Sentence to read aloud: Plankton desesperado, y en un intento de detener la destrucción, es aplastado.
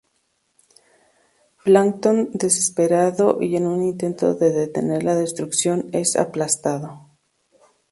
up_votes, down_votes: 4, 0